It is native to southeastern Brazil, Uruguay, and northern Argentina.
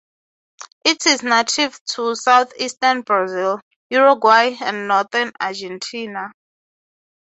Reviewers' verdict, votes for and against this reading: accepted, 6, 0